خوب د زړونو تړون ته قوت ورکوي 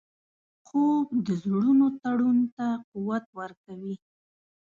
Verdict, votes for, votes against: accepted, 2, 0